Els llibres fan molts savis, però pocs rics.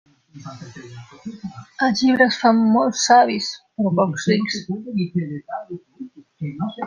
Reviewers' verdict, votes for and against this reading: rejected, 0, 2